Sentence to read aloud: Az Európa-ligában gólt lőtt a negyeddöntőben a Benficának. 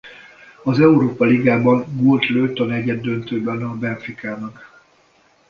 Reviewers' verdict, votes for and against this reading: accepted, 2, 0